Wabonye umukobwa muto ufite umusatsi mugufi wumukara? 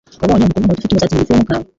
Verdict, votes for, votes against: rejected, 0, 2